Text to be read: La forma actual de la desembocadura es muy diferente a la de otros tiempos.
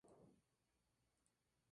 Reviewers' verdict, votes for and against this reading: rejected, 0, 2